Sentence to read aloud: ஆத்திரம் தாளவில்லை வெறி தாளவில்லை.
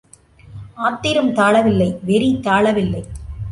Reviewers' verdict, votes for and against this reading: accepted, 2, 0